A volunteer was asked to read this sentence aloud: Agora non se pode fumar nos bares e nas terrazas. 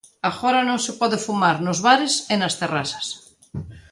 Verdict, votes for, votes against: accepted, 2, 0